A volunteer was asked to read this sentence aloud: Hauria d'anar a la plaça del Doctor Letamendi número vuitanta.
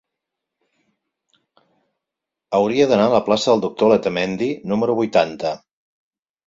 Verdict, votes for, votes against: accepted, 4, 2